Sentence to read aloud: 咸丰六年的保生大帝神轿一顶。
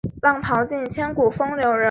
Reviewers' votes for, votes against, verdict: 0, 4, rejected